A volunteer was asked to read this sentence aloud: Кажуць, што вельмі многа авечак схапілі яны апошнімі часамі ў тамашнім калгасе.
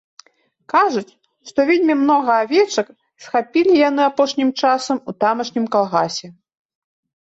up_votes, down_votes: 1, 2